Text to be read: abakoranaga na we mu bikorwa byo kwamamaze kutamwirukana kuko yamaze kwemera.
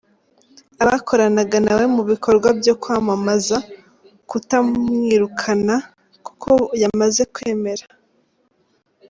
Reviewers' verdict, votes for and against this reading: rejected, 0, 2